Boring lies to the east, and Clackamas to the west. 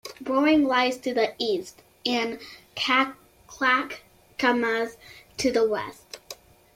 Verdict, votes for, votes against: rejected, 0, 2